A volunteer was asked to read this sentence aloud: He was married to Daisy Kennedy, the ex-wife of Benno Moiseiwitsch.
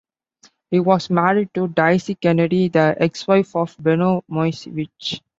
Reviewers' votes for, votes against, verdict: 2, 0, accepted